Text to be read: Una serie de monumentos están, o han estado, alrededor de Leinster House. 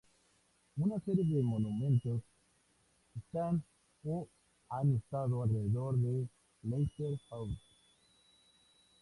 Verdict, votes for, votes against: accepted, 2, 0